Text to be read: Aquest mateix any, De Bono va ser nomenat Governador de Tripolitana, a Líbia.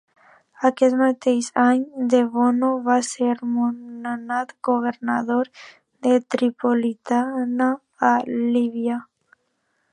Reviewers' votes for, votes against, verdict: 0, 2, rejected